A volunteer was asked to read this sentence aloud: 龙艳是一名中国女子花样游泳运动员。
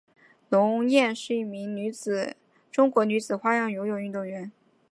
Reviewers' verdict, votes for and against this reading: accepted, 3, 0